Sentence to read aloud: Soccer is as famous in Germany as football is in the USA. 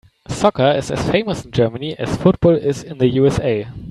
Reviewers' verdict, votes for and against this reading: accepted, 2, 0